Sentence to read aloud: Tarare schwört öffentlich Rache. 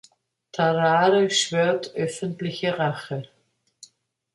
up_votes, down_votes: 1, 3